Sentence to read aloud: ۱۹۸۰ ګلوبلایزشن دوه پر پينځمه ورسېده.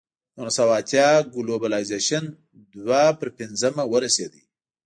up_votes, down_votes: 0, 2